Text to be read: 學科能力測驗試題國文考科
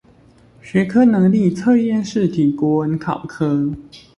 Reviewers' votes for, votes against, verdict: 2, 0, accepted